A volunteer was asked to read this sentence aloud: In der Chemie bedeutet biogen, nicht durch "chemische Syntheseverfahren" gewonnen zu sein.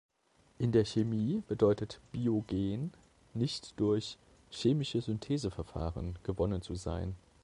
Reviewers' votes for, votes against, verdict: 2, 0, accepted